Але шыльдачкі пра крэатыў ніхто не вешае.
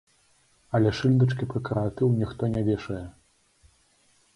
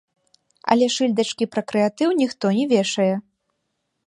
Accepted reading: second